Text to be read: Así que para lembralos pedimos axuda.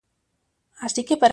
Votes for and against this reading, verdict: 0, 2, rejected